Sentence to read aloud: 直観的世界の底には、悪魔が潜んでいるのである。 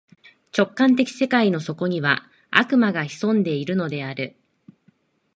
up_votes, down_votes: 2, 0